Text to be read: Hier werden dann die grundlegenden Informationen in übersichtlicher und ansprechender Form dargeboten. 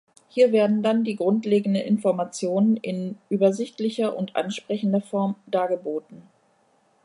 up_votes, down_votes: 0, 2